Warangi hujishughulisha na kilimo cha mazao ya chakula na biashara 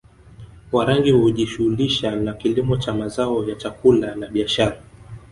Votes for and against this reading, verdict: 3, 0, accepted